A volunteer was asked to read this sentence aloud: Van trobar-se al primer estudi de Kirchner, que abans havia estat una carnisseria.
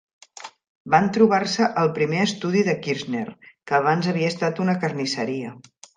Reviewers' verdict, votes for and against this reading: accepted, 3, 0